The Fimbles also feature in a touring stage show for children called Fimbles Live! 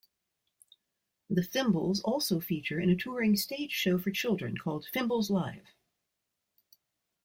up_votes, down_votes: 2, 0